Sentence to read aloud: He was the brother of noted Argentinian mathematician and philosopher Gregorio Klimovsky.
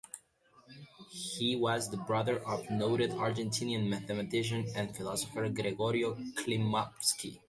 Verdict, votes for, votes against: accepted, 2, 0